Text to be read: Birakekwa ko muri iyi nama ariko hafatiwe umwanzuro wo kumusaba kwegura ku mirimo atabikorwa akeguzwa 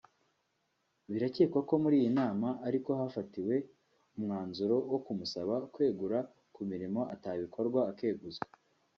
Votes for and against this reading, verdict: 1, 2, rejected